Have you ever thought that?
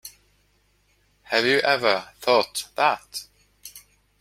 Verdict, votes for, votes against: accepted, 2, 0